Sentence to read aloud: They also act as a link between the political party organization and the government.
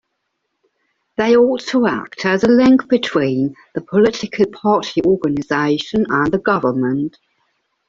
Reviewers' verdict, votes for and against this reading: rejected, 0, 2